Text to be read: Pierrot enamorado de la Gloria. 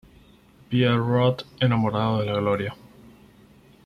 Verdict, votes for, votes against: accepted, 4, 0